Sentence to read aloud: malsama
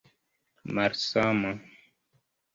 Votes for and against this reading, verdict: 1, 2, rejected